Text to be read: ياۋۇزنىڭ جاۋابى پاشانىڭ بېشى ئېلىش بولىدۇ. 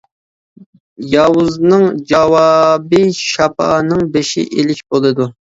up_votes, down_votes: 0, 2